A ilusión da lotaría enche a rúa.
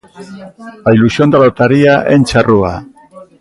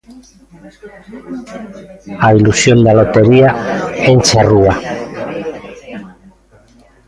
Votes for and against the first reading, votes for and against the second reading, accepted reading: 2, 0, 0, 2, first